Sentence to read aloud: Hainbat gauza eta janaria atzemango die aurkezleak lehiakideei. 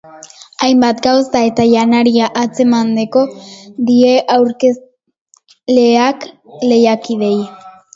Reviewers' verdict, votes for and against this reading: rejected, 0, 2